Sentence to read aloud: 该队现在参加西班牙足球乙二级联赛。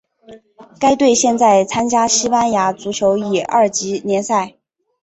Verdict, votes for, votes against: accepted, 4, 1